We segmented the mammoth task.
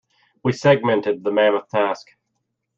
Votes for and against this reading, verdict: 2, 0, accepted